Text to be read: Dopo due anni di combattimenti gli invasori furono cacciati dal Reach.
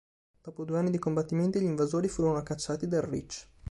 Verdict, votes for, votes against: accepted, 2, 0